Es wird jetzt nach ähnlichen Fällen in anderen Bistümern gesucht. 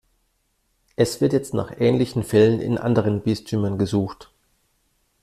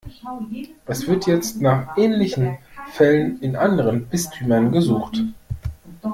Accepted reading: first